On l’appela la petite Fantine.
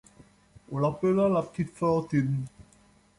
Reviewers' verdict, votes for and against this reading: accepted, 2, 0